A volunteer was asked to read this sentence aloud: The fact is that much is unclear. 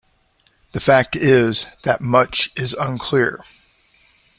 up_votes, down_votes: 2, 0